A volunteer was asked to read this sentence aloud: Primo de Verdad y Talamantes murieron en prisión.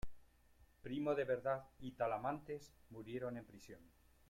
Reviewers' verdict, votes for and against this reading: accepted, 2, 0